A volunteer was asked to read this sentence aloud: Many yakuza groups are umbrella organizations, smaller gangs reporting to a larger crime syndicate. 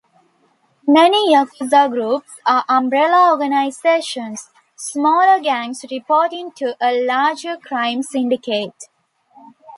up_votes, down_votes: 2, 0